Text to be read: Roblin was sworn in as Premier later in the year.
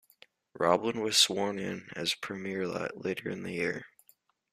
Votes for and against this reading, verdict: 1, 2, rejected